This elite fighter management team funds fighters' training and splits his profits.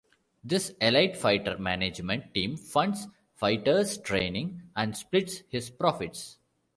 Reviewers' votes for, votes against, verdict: 1, 2, rejected